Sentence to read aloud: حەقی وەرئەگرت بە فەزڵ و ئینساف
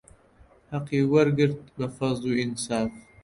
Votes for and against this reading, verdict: 0, 2, rejected